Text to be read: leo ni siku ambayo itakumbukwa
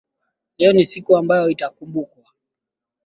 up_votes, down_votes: 1, 2